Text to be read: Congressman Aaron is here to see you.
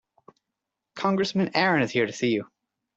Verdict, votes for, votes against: accepted, 2, 0